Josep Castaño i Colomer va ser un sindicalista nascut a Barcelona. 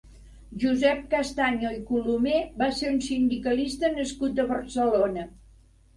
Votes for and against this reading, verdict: 4, 0, accepted